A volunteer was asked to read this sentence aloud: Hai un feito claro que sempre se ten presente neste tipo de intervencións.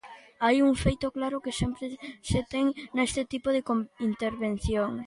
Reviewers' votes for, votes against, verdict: 0, 2, rejected